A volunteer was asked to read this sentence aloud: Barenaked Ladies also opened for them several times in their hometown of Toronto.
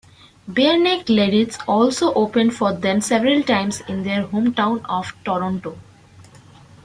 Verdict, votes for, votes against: rejected, 1, 2